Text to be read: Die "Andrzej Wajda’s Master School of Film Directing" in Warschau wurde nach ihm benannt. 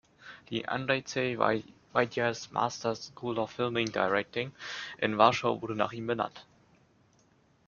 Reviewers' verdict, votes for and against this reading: rejected, 1, 2